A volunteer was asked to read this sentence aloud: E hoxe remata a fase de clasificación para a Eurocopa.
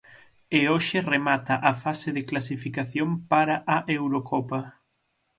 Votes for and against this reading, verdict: 6, 0, accepted